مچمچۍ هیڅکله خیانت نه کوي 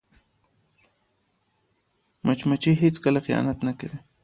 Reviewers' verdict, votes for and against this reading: accepted, 2, 0